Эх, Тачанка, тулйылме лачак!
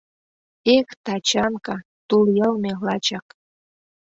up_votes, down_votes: 2, 0